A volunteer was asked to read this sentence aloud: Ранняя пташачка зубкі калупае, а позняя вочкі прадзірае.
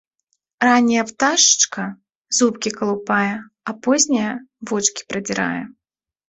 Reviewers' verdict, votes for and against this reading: accepted, 2, 0